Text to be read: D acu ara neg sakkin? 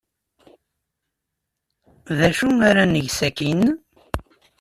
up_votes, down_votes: 2, 0